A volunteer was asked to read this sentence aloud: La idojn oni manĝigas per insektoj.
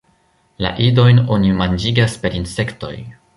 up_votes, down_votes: 2, 0